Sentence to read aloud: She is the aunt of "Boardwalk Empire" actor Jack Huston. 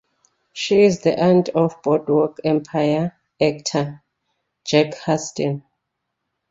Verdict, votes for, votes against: accepted, 2, 0